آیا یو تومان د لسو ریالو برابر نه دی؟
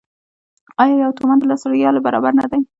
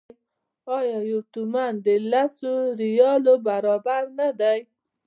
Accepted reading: second